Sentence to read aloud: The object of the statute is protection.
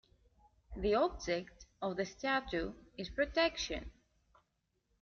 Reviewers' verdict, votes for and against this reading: accepted, 4, 0